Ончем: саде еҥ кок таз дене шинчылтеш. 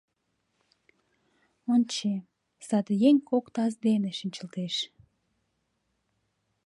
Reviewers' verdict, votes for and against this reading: accepted, 2, 0